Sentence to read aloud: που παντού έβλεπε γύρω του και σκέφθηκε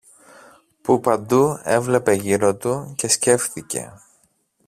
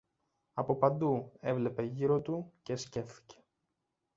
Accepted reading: first